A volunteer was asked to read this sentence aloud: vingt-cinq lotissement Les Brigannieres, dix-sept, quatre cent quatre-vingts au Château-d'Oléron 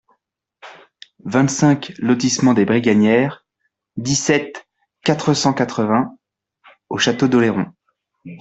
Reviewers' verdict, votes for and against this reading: rejected, 1, 2